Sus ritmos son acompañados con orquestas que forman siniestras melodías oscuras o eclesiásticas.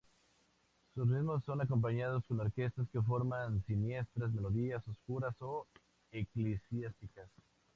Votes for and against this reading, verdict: 2, 0, accepted